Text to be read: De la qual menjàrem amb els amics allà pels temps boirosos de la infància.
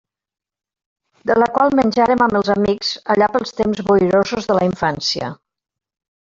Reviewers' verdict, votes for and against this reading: accepted, 4, 1